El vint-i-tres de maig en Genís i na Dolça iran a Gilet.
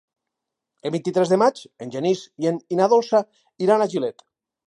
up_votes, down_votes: 4, 0